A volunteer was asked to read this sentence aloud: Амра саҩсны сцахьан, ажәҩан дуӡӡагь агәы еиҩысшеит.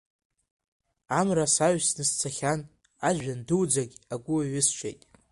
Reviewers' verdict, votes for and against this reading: accepted, 2, 1